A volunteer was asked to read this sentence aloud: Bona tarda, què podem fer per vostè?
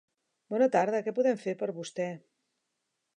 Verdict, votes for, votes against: accepted, 2, 0